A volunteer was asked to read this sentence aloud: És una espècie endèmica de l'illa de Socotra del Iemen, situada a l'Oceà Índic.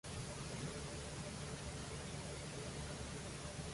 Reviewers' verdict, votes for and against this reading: rejected, 0, 2